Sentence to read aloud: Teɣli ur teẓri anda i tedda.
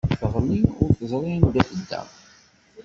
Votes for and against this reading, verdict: 0, 2, rejected